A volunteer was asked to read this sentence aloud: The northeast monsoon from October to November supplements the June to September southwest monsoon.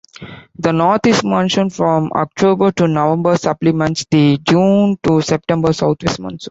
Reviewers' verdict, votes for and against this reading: rejected, 0, 2